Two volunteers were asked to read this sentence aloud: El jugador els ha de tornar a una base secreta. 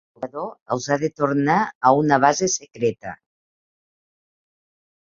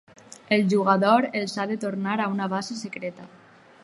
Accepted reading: second